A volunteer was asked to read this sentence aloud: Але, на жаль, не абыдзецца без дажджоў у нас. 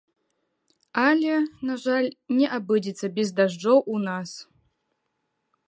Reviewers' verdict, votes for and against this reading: rejected, 0, 3